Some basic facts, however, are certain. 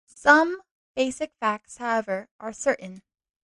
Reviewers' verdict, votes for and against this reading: accepted, 2, 0